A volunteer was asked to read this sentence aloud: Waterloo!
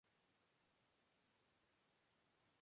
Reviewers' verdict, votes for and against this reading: rejected, 0, 3